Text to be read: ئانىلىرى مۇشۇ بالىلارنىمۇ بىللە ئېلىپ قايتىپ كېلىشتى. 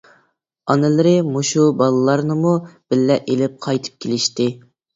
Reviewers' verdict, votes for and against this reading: accepted, 2, 0